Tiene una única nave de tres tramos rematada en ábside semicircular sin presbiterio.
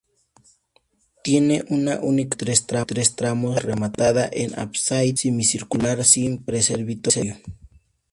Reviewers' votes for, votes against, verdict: 0, 2, rejected